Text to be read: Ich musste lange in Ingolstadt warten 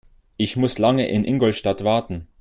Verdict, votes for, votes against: rejected, 0, 2